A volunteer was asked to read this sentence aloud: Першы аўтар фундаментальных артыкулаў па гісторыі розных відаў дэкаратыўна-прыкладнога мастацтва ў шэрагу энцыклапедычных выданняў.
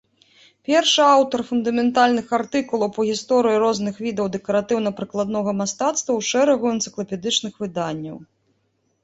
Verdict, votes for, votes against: accepted, 2, 0